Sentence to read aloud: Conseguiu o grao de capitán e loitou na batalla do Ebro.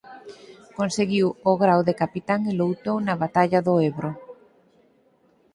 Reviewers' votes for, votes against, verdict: 2, 4, rejected